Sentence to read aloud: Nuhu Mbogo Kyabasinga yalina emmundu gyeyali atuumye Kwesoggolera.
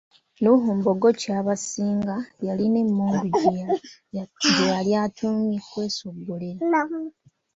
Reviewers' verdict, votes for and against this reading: rejected, 1, 2